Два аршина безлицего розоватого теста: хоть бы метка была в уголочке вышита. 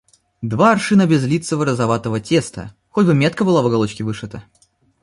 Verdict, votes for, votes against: accepted, 2, 0